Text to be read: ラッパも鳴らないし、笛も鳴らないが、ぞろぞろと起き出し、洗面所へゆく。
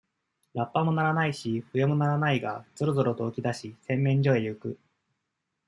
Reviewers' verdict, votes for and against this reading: accepted, 2, 0